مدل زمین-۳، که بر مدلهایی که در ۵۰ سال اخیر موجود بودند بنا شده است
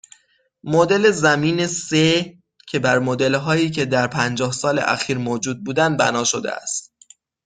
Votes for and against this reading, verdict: 0, 2, rejected